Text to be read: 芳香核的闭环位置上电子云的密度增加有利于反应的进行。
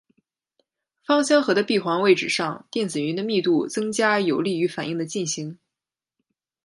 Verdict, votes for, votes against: accepted, 2, 0